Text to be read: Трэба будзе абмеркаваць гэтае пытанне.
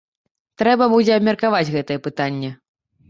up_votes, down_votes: 2, 1